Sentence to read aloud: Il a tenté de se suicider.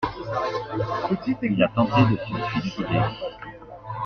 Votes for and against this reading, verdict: 1, 2, rejected